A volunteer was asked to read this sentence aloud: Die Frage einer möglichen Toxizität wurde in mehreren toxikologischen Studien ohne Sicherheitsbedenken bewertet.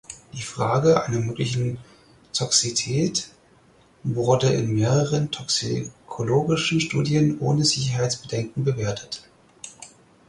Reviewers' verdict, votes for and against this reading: rejected, 0, 4